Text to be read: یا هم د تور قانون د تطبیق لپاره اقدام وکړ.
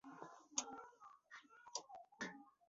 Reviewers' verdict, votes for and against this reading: rejected, 1, 2